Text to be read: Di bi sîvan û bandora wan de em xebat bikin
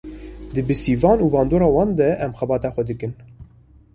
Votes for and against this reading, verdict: 1, 2, rejected